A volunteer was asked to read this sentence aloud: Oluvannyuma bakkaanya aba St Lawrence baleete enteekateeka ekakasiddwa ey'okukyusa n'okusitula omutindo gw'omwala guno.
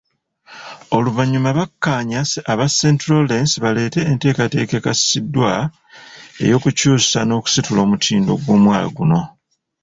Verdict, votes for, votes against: rejected, 1, 2